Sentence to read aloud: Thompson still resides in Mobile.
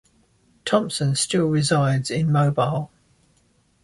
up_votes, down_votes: 2, 0